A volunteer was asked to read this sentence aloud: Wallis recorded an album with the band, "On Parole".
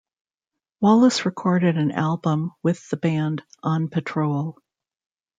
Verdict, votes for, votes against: rejected, 1, 2